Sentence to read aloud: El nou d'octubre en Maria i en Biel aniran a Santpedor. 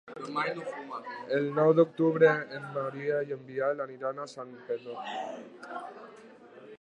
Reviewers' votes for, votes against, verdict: 0, 2, rejected